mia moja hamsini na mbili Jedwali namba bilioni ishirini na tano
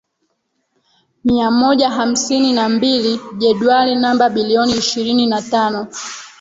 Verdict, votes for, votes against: rejected, 0, 2